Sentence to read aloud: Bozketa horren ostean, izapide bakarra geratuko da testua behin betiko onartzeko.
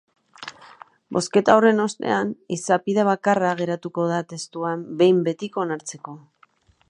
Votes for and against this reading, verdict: 0, 2, rejected